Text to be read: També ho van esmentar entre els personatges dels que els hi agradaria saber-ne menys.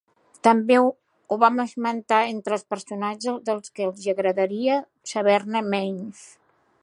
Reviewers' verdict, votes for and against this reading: rejected, 0, 2